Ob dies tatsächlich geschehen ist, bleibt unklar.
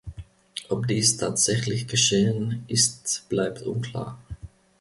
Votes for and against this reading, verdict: 2, 0, accepted